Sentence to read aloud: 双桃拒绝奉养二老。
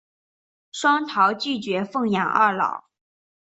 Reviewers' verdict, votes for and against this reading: accepted, 2, 1